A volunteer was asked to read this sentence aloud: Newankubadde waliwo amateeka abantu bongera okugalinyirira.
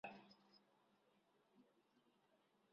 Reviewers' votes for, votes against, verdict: 0, 2, rejected